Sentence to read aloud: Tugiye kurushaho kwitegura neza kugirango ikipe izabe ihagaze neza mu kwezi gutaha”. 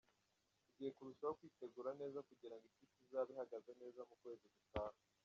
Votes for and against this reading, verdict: 1, 2, rejected